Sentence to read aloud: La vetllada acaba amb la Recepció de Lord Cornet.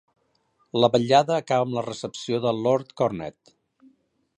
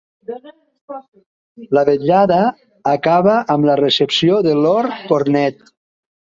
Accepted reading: second